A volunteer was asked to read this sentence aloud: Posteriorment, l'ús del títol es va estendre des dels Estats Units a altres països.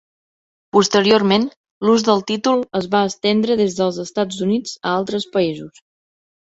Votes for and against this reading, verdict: 2, 0, accepted